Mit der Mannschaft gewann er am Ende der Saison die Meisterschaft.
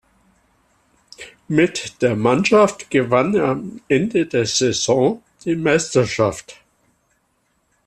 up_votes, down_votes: 2, 0